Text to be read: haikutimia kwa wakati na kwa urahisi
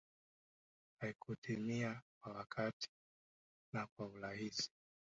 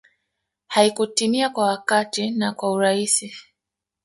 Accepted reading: first